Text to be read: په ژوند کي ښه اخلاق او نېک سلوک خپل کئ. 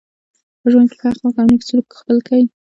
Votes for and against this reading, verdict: 1, 2, rejected